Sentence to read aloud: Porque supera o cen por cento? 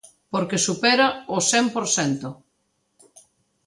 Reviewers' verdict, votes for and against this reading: accepted, 2, 0